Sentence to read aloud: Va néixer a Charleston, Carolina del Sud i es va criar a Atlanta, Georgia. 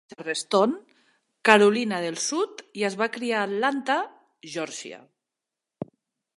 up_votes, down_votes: 0, 2